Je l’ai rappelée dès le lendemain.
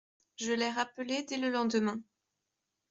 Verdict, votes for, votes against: accepted, 2, 0